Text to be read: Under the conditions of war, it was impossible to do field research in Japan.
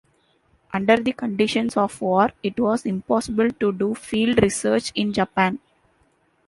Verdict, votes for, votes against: accepted, 2, 1